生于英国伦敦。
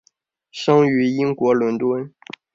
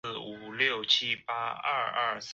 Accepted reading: first